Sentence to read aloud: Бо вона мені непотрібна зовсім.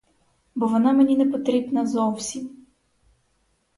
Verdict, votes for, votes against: accepted, 4, 2